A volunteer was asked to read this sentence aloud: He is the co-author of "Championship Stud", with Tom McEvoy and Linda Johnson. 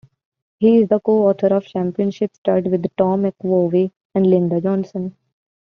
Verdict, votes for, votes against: rejected, 1, 2